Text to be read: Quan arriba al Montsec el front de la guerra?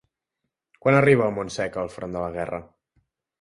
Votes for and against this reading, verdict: 2, 0, accepted